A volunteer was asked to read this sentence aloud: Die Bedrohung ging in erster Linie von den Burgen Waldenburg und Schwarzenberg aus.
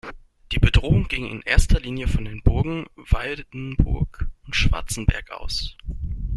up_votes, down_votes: 1, 2